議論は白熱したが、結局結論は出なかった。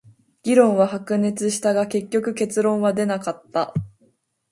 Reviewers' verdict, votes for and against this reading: accepted, 2, 1